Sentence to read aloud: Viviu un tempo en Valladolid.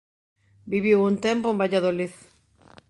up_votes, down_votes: 2, 0